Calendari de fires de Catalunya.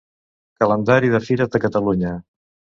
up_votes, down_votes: 0, 2